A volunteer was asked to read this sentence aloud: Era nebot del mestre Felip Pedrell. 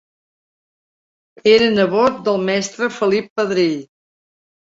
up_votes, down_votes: 3, 0